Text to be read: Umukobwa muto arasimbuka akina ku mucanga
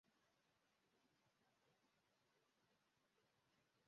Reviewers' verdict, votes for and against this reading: rejected, 0, 3